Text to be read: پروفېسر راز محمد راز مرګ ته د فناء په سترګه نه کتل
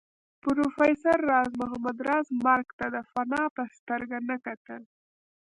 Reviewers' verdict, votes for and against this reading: rejected, 0, 2